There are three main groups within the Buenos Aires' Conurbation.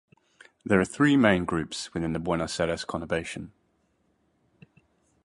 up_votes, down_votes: 2, 0